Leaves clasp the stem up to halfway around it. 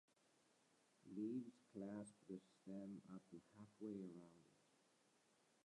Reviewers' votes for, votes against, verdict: 0, 2, rejected